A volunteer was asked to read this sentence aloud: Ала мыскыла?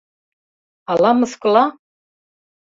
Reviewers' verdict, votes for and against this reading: accepted, 3, 0